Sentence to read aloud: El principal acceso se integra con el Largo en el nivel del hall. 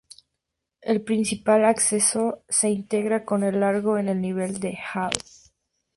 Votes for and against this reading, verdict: 2, 0, accepted